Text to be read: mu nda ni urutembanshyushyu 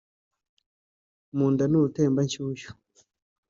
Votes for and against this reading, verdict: 2, 0, accepted